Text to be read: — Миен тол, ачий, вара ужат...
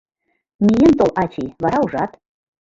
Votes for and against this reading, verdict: 0, 2, rejected